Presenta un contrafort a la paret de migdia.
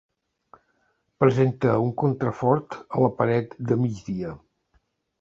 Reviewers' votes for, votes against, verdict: 3, 0, accepted